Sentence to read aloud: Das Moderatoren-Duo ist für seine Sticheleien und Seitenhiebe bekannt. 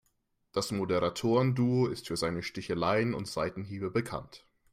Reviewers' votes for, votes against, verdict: 2, 0, accepted